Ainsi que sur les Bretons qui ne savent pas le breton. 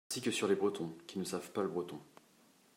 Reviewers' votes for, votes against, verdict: 0, 2, rejected